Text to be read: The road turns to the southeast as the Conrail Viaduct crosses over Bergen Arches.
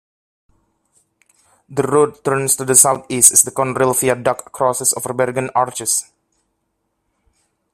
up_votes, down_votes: 2, 0